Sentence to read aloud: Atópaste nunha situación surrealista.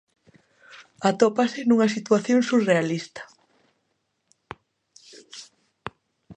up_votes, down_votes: 0, 3